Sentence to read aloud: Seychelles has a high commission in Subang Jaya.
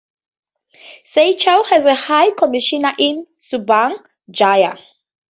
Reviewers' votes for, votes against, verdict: 0, 2, rejected